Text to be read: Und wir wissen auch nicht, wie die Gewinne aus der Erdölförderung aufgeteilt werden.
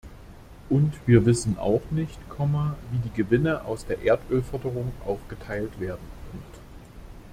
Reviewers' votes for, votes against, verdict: 0, 2, rejected